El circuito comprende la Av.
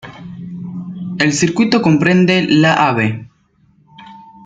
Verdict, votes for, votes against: rejected, 1, 2